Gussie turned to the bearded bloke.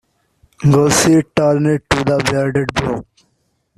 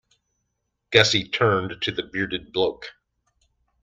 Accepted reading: second